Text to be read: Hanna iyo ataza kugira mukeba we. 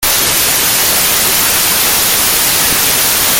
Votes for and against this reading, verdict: 0, 2, rejected